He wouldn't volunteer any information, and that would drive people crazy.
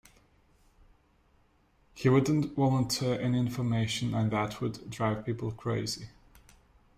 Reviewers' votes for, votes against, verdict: 3, 0, accepted